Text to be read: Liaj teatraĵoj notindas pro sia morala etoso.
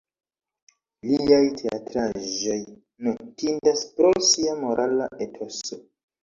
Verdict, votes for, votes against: accepted, 2, 0